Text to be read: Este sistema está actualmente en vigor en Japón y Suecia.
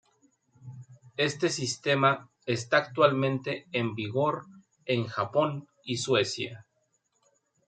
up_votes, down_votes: 2, 0